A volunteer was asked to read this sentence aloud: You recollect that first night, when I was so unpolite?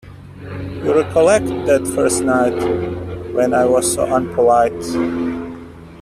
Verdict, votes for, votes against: rejected, 1, 2